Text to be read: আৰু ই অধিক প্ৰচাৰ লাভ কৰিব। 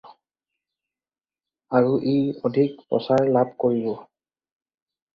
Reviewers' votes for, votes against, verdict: 4, 0, accepted